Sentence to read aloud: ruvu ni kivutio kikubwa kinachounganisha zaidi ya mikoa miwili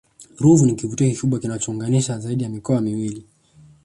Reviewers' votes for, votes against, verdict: 0, 2, rejected